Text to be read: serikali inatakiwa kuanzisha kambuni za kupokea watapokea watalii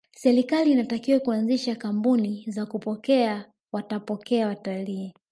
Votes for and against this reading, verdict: 1, 2, rejected